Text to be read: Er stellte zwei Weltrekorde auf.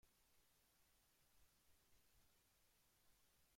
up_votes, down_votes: 0, 2